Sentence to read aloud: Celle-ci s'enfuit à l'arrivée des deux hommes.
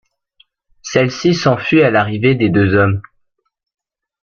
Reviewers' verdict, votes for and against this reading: accepted, 2, 1